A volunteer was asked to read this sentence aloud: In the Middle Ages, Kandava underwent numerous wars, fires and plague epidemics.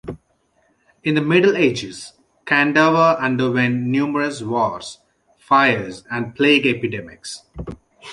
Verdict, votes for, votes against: accepted, 2, 0